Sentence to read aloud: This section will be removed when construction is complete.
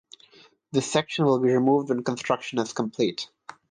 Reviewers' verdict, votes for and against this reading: accepted, 6, 0